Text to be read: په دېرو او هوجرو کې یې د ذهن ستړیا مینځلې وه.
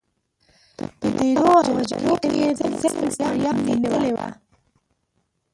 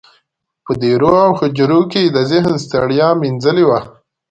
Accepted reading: second